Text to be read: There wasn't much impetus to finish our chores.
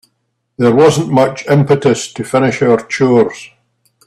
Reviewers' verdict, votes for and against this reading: accepted, 2, 0